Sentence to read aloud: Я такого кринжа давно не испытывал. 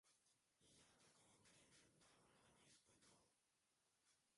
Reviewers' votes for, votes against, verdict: 0, 2, rejected